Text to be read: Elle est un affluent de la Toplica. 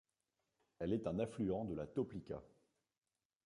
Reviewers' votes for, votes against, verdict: 1, 2, rejected